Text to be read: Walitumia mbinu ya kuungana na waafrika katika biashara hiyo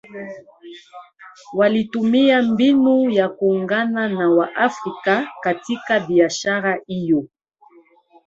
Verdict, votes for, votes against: rejected, 1, 2